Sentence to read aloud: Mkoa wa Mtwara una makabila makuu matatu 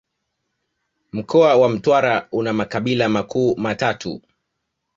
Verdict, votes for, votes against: accepted, 2, 0